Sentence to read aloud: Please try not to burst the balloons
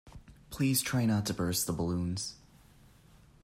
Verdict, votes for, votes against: accepted, 2, 0